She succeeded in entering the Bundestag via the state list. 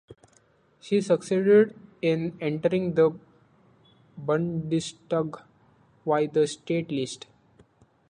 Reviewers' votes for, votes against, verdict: 1, 2, rejected